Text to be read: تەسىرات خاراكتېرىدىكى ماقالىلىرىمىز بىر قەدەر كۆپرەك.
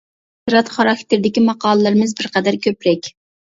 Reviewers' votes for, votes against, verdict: 0, 2, rejected